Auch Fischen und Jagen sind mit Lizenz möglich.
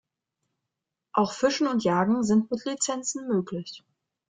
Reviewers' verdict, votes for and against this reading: rejected, 1, 2